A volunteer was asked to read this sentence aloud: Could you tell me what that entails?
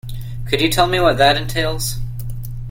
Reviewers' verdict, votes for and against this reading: accepted, 2, 0